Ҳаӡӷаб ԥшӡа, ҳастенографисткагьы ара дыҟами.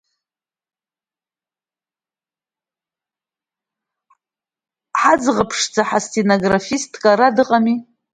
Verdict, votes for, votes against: rejected, 1, 2